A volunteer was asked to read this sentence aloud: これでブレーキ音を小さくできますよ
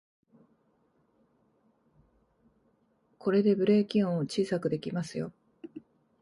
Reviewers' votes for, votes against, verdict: 0, 2, rejected